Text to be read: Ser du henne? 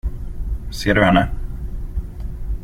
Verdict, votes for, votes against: accepted, 2, 0